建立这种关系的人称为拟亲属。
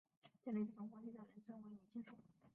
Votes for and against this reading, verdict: 0, 2, rejected